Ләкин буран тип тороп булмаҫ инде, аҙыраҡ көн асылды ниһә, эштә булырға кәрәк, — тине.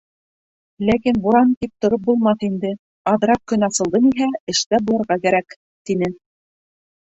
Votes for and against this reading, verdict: 0, 2, rejected